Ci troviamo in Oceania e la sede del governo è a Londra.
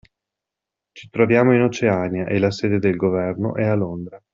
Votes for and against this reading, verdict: 2, 0, accepted